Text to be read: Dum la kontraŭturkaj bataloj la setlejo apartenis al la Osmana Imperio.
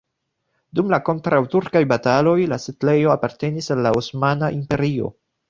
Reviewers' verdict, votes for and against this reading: rejected, 1, 2